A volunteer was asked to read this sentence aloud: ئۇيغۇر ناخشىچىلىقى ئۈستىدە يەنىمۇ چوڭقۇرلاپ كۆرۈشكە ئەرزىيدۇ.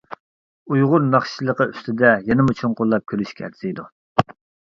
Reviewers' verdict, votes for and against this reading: accepted, 2, 0